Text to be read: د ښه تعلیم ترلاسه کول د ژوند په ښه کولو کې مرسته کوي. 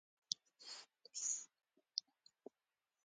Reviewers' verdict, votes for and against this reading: rejected, 1, 2